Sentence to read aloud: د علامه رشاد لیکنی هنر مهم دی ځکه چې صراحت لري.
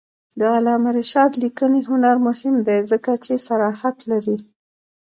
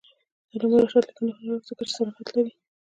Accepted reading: first